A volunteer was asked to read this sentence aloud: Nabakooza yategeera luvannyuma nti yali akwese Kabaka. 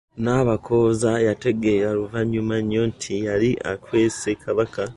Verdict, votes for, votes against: rejected, 1, 2